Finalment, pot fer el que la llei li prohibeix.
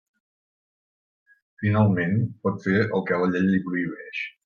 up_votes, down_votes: 1, 2